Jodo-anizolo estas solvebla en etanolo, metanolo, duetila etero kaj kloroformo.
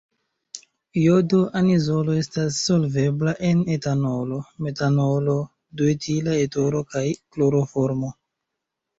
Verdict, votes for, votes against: accepted, 2, 0